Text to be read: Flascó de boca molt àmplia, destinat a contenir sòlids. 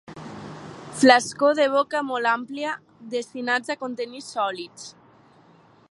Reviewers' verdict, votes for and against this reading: accepted, 2, 0